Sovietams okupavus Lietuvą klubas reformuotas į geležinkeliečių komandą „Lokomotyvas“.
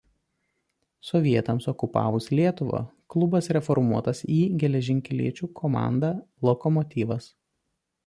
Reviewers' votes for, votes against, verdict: 2, 0, accepted